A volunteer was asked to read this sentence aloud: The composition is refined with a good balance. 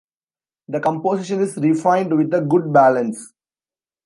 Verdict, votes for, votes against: accepted, 2, 0